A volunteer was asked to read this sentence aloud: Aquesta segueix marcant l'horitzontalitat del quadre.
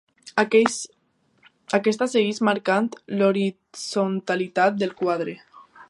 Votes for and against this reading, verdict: 0, 2, rejected